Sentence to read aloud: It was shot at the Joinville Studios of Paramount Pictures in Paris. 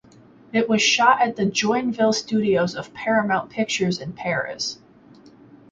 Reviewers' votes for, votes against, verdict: 4, 0, accepted